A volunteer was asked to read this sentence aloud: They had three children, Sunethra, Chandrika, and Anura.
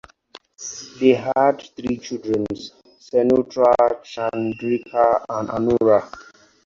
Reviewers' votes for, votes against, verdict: 2, 4, rejected